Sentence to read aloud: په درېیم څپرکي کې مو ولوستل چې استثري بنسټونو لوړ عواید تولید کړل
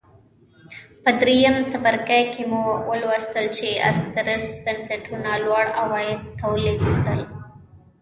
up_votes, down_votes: 0, 2